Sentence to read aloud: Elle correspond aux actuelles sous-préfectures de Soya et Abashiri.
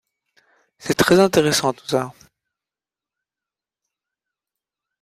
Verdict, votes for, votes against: rejected, 0, 2